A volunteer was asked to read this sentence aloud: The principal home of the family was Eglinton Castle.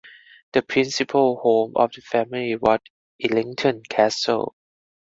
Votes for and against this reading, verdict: 0, 4, rejected